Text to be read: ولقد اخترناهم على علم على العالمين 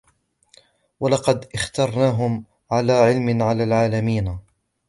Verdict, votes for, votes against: accepted, 2, 0